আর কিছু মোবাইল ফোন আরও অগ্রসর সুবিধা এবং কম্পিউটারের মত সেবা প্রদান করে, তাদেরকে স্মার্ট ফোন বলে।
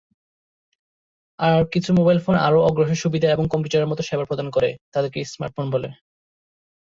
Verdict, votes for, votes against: rejected, 3, 3